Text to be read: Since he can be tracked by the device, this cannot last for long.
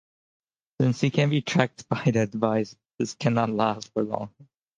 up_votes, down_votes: 2, 0